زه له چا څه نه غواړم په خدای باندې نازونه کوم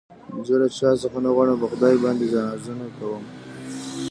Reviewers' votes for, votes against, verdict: 0, 2, rejected